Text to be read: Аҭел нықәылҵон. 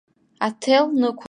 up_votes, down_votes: 1, 2